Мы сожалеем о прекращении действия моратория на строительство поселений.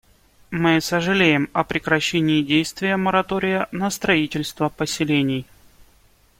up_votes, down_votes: 2, 0